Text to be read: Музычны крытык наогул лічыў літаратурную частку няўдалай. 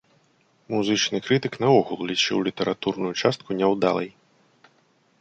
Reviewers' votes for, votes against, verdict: 2, 0, accepted